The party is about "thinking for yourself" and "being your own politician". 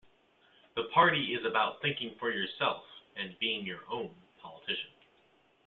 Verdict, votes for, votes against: accepted, 2, 0